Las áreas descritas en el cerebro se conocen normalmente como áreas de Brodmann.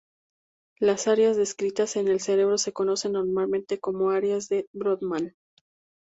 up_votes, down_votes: 2, 0